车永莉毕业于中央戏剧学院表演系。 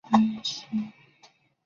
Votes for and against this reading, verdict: 0, 5, rejected